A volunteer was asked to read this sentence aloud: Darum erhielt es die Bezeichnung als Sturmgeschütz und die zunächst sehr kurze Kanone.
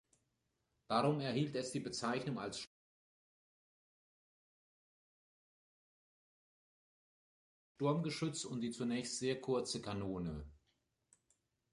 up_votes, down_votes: 0, 2